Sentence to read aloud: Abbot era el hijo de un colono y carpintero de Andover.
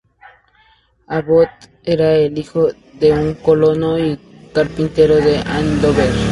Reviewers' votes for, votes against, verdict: 0, 2, rejected